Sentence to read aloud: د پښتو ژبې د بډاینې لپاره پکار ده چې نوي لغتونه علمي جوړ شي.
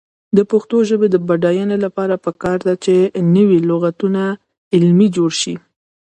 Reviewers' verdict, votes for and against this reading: rejected, 1, 2